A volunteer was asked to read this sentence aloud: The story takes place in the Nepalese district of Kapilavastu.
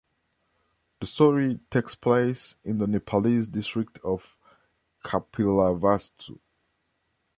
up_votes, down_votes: 0, 2